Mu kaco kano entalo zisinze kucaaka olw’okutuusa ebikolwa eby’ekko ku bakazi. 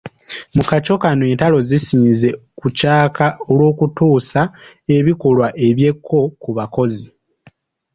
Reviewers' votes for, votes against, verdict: 0, 2, rejected